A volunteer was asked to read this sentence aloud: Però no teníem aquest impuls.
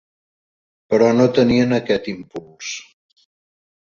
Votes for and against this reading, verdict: 1, 2, rejected